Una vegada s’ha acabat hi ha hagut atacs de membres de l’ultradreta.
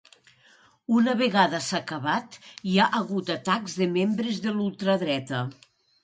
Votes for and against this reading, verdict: 2, 0, accepted